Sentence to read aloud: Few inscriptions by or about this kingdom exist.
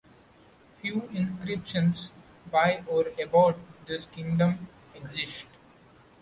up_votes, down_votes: 1, 2